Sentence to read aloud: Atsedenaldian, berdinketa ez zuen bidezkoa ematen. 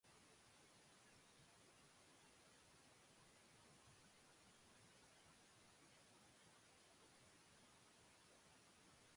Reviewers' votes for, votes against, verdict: 0, 2, rejected